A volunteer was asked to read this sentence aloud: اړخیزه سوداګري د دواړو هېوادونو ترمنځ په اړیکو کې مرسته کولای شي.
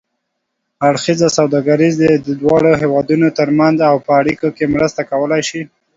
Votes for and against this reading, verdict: 0, 2, rejected